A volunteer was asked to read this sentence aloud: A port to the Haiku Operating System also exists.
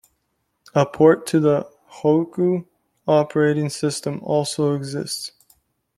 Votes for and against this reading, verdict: 0, 2, rejected